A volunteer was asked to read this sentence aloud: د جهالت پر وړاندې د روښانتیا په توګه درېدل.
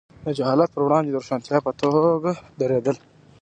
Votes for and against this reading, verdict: 2, 0, accepted